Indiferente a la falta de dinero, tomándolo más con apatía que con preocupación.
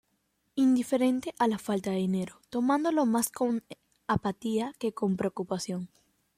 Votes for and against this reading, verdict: 2, 0, accepted